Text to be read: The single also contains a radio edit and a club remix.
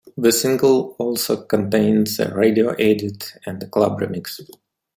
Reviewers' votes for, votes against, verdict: 2, 0, accepted